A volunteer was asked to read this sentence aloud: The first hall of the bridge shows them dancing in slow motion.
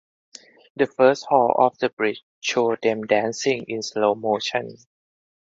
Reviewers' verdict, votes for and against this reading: accepted, 4, 2